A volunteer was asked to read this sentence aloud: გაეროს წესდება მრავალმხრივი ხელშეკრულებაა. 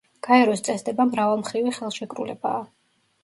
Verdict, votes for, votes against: rejected, 0, 2